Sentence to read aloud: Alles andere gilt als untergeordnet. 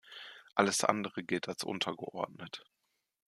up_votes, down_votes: 2, 0